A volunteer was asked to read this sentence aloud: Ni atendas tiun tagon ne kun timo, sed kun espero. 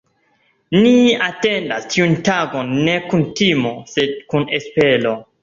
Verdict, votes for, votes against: accepted, 2, 0